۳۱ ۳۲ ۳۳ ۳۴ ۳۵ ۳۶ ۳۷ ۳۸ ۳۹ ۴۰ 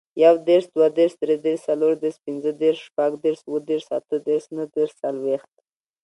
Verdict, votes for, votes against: rejected, 0, 2